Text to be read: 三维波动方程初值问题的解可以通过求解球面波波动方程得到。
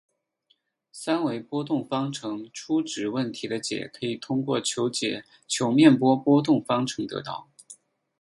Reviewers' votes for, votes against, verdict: 6, 2, accepted